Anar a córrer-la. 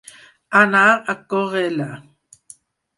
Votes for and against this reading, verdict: 4, 2, accepted